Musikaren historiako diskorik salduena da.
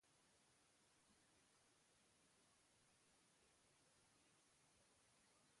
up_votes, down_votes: 0, 2